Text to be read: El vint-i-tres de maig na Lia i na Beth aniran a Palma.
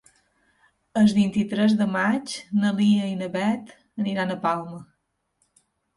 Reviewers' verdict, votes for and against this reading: rejected, 0, 3